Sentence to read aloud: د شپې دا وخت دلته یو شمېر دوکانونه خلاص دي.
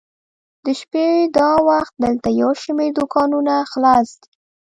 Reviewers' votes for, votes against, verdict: 1, 2, rejected